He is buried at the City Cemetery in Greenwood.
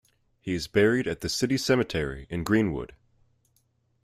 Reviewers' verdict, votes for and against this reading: accepted, 2, 0